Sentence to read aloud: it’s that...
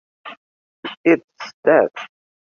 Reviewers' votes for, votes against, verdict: 2, 0, accepted